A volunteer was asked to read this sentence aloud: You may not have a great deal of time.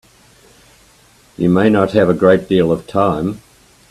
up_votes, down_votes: 3, 0